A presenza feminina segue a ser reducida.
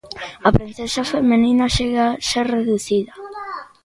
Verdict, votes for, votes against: rejected, 0, 2